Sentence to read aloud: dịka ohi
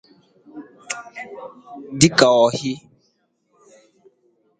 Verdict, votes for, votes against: rejected, 0, 2